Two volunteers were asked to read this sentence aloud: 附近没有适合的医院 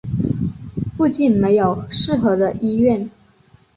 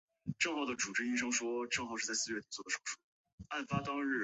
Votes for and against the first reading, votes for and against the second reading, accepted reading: 4, 0, 0, 2, first